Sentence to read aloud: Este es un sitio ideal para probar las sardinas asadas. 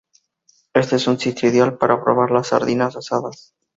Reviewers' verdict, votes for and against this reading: rejected, 0, 2